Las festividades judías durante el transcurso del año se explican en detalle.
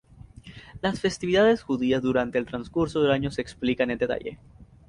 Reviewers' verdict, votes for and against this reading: rejected, 0, 2